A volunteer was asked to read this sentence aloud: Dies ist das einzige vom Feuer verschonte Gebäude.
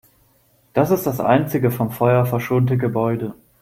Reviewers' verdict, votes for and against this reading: rejected, 0, 2